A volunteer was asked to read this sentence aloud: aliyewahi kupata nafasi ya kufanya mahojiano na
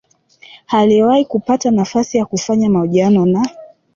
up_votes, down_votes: 1, 2